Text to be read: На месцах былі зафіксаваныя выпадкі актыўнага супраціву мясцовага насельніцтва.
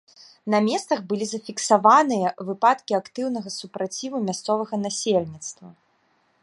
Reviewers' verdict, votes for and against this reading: rejected, 1, 2